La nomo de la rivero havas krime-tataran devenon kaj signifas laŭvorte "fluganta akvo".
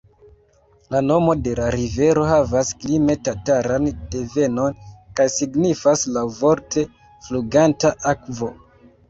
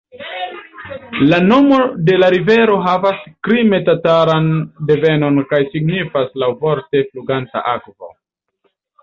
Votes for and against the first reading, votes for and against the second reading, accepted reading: 0, 2, 2, 1, second